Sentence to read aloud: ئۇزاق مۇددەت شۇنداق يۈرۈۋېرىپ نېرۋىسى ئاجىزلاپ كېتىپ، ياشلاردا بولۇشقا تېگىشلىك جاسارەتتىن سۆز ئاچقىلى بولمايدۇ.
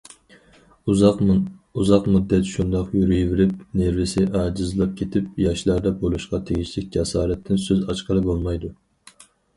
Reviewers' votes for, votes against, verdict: 2, 2, rejected